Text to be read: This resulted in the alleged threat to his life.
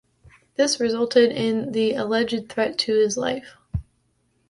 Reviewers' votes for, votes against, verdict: 2, 0, accepted